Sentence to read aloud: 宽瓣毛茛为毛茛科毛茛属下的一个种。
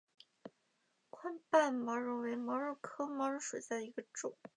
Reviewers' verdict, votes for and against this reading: rejected, 1, 4